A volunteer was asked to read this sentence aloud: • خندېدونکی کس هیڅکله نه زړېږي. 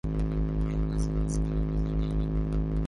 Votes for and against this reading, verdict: 1, 8, rejected